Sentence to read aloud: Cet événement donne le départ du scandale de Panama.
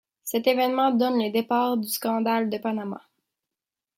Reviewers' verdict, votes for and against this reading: accepted, 2, 0